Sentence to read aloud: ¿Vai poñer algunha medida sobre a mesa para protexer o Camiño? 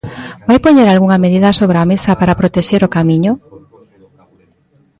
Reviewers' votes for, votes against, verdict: 2, 1, accepted